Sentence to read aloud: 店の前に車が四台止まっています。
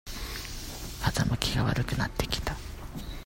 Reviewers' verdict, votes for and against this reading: rejected, 0, 2